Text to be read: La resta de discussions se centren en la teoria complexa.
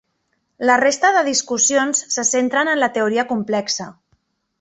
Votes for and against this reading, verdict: 3, 0, accepted